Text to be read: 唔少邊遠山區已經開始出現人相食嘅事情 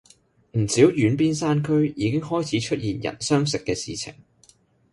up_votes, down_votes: 1, 2